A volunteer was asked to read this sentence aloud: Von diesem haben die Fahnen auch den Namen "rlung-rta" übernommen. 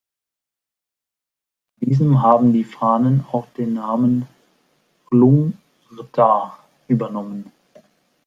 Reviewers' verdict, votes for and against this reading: rejected, 1, 2